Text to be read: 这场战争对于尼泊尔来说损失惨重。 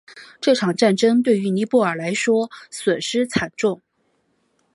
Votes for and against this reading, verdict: 3, 1, accepted